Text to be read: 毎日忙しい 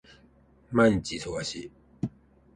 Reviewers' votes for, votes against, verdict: 2, 0, accepted